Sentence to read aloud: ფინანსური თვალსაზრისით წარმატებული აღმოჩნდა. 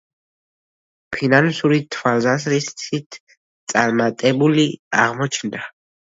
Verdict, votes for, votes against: rejected, 1, 2